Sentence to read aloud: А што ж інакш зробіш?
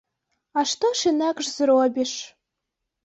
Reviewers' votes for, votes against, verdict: 2, 0, accepted